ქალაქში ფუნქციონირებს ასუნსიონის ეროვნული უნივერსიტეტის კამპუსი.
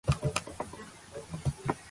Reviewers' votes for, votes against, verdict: 0, 3, rejected